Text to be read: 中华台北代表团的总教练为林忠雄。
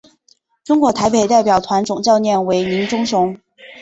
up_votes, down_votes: 3, 1